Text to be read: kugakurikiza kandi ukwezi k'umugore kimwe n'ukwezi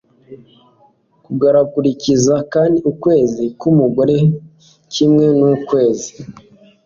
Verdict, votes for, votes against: accepted, 2, 1